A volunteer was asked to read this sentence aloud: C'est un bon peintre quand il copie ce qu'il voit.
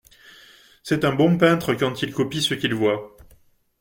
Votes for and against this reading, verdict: 2, 0, accepted